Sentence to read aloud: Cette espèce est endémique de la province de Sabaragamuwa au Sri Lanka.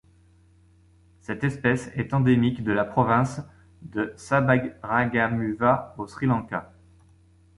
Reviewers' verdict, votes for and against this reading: rejected, 1, 2